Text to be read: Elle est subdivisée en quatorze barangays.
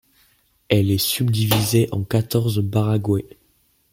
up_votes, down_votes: 0, 2